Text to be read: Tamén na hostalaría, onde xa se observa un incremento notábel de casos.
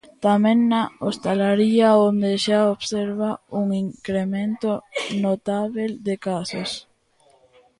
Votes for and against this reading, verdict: 0, 2, rejected